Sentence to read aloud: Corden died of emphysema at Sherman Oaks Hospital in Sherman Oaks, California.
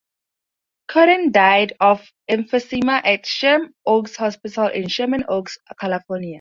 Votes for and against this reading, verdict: 0, 4, rejected